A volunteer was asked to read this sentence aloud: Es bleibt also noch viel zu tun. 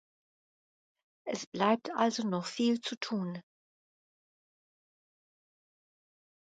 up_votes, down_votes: 2, 0